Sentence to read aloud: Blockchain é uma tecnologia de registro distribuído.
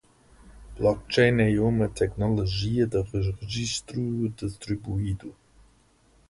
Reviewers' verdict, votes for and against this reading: rejected, 0, 2